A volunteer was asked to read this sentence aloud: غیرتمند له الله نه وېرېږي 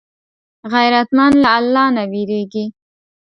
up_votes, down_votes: 2, 0